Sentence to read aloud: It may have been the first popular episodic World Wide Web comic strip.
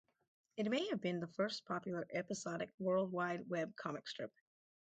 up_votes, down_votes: 2, 2